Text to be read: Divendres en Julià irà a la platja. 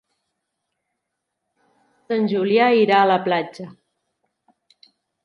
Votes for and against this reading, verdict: 0, 2, rejected